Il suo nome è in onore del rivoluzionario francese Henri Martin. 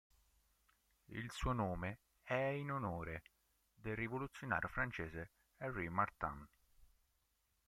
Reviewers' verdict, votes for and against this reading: accepted, 2, 1